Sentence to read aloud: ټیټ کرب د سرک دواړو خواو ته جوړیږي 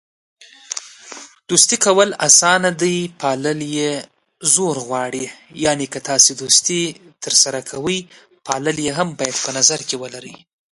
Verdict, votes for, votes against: rejected, 0, 2